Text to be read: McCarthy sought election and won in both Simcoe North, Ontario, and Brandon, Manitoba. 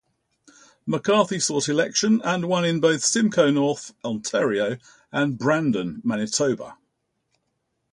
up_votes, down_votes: 2, 0